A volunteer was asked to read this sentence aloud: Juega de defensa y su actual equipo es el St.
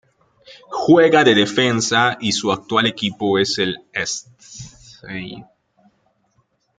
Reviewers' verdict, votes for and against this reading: rejected, 0, 2